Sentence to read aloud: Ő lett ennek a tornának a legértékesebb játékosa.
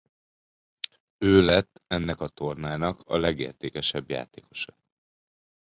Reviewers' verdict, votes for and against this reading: accepted, 2, 0